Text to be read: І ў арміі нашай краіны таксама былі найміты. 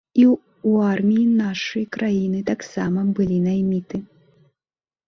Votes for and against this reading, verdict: 0, 2, rejected